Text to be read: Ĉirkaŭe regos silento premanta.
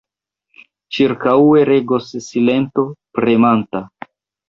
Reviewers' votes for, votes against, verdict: 1, 2, rejected